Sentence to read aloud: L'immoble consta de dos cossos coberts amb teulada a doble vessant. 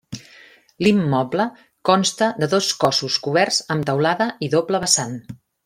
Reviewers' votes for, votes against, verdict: 0, 2, rejected